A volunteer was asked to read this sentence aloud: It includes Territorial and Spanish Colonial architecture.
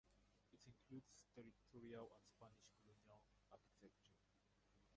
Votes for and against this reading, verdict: 0, 4, rejected